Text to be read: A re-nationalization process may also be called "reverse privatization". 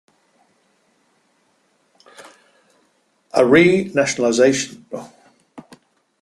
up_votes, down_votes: 0, 2